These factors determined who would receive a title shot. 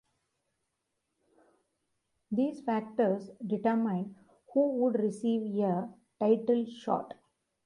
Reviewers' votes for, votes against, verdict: 2, 1, accepted